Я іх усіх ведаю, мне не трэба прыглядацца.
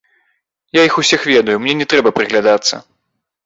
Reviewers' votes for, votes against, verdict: 1, 2, rejected